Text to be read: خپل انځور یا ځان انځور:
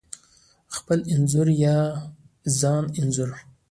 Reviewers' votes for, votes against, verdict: 2, 0, accepted